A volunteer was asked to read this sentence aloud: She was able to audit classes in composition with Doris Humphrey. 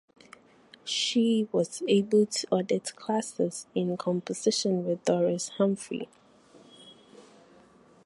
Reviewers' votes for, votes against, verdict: 2, 0, accepted